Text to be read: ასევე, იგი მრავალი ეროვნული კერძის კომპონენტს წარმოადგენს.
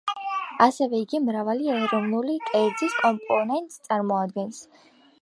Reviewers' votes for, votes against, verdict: 0, 2, rejected